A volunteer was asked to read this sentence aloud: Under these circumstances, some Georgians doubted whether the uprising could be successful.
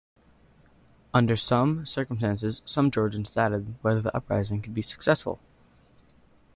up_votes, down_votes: 0, 2